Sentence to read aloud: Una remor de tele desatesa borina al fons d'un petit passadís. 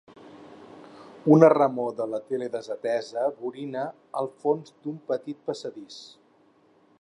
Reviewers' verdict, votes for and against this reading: rejected, 0, 4